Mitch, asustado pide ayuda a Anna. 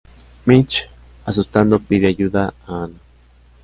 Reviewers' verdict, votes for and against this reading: rejected, 0, 2